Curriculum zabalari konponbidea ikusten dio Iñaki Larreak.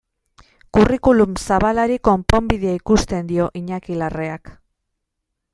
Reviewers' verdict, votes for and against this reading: accepted, 2, 0